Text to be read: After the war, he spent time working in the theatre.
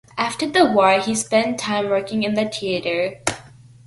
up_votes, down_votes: 3, 0